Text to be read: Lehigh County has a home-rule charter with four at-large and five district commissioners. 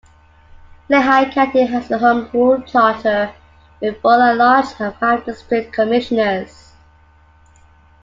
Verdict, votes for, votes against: accepted, 2, 0